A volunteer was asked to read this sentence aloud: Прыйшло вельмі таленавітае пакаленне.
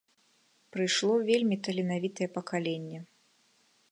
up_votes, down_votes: 2, 0